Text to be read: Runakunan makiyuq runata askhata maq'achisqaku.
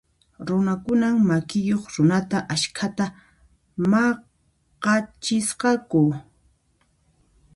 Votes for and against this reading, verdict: 1, 2, rejected